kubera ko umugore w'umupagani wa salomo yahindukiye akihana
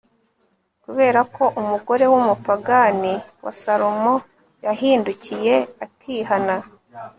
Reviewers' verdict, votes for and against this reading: accepted, 2, 0